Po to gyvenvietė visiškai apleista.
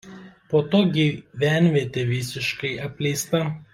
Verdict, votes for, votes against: rejected, 0, 2